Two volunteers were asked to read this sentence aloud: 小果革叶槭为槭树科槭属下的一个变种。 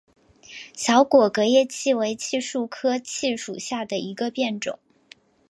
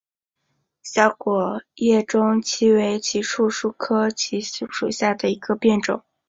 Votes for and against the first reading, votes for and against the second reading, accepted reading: 3, 1, 0, 2, first